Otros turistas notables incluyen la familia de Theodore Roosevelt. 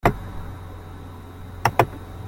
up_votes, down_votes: 0, 2